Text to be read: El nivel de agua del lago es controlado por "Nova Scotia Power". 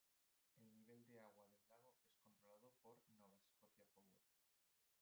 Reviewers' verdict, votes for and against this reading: rejected, 0, 2